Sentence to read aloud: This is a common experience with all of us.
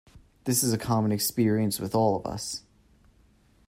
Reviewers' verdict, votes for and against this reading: accepted, 2, 0